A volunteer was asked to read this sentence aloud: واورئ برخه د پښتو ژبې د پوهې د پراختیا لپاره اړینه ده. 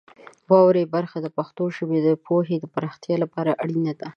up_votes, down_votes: 2, 1